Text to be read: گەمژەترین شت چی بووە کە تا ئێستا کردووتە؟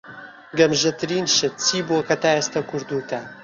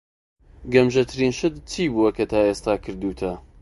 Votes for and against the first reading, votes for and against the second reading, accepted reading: 1, 2, 2, 0, second